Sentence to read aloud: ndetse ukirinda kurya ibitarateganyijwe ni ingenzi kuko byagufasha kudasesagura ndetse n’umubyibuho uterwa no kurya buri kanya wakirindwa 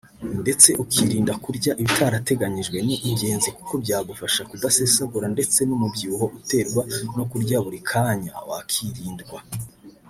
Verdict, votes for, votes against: rejected, 0, 2